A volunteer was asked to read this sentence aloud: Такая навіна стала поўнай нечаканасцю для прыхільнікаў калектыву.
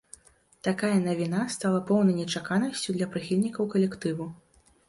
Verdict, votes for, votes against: accepted, 2, 0